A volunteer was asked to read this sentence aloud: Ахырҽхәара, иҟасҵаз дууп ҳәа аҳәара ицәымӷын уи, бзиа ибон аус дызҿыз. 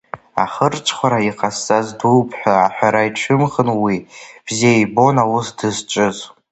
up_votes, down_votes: 2, 0